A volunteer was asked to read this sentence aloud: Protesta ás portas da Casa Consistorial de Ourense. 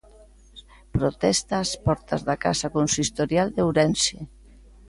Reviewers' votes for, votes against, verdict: 2, 0, accepted